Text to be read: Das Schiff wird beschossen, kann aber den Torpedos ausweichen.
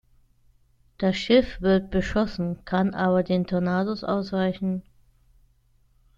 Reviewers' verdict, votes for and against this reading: rejected, 0, 2